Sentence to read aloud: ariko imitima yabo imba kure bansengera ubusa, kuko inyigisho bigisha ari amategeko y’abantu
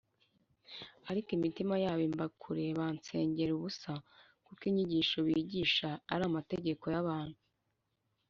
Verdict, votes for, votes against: rejected, 1, 2